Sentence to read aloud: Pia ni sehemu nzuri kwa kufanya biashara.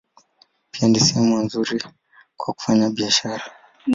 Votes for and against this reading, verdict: 1, 2, rejected